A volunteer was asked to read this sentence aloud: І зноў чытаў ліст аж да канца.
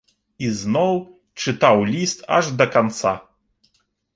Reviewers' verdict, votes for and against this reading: accepted, 3, 0